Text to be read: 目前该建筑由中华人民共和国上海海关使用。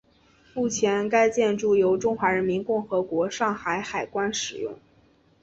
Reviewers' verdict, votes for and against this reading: accepted, 2, 0